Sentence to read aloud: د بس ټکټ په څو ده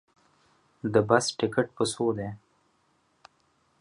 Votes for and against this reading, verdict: 2, 1, accepted